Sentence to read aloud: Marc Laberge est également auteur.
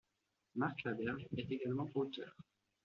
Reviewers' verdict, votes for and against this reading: accepted, 2, 1